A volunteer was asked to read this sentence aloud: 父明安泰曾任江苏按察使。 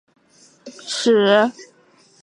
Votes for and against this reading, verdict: 1, 2, rejected